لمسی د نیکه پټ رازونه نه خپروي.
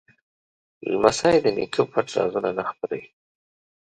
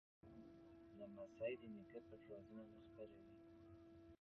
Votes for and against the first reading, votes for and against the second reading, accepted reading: 2, 0, 1, 2, first